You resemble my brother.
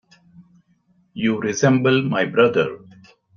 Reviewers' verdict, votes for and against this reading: accepted, 2, 0